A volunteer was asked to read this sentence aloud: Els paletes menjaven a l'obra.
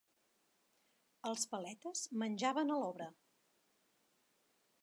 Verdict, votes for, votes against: accepted, 3, 0